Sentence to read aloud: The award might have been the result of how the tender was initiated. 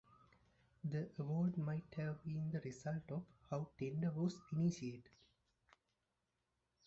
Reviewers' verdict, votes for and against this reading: rejected, 0, 2